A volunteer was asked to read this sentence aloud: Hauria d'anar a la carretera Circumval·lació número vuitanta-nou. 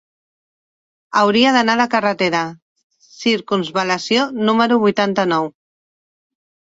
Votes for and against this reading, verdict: 0, 2, rejected